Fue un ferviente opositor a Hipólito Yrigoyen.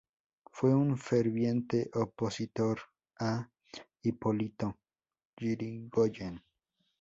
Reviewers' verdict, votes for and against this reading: accepted, 4, 0